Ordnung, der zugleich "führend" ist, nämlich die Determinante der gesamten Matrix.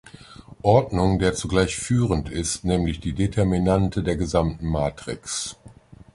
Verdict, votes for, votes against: accepted, 2, 0